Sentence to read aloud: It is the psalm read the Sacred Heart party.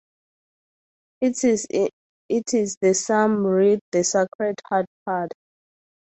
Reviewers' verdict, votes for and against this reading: rejected, 0, 4